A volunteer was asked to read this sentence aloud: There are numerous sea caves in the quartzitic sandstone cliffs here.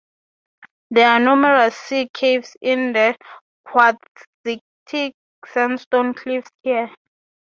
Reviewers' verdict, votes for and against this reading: rejected, 0, 3